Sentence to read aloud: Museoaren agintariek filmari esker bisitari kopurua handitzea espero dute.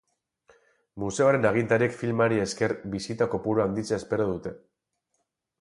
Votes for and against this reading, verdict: 0, 2, rejected